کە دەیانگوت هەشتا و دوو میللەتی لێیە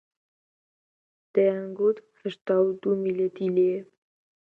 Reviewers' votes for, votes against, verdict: 2, 0, accepted